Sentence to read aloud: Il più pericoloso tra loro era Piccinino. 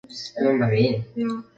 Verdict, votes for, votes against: rejected, 0, 3